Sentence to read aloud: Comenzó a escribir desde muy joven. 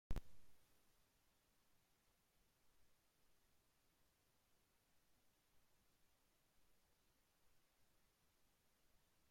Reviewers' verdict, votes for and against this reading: rejected, 1, 2